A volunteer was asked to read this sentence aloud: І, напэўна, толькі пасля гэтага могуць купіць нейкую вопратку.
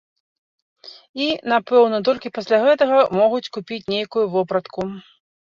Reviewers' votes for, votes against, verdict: 2, 0, accepted